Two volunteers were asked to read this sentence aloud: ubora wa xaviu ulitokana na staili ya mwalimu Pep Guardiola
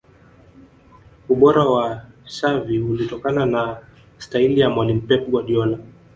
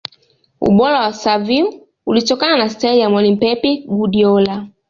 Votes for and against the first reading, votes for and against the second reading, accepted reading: 0, 2, 2, 0, second